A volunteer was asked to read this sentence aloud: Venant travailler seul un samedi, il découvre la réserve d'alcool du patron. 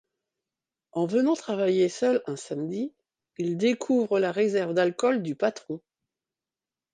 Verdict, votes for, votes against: rejected, 1, 3